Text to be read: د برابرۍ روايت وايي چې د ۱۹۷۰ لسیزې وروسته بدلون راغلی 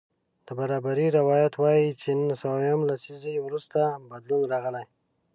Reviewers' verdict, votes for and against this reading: rejected, 0, 2